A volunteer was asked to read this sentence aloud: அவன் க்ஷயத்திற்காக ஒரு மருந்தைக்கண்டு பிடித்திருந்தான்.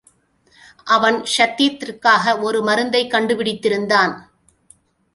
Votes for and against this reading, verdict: 2, 1, accepted